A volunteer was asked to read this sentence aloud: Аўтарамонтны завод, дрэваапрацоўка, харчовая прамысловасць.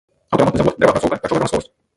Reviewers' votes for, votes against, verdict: 0, 2, rejected